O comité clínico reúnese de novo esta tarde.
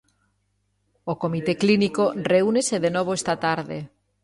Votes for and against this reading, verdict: 3, 0, accepted